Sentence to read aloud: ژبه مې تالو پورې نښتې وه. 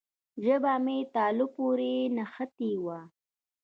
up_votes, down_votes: 2, 0